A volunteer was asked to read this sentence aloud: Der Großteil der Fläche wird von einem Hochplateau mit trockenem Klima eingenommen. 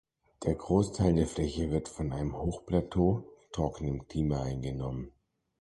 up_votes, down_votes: 0, 2